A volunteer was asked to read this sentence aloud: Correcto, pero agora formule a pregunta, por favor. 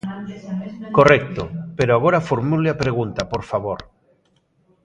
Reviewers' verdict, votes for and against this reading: accepted, 2, 0